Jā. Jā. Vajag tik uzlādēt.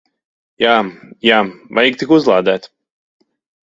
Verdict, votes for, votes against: rejected, 1, 2